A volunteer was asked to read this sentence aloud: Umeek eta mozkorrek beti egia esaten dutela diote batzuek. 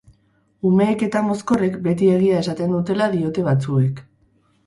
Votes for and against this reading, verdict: 0, 2, rejected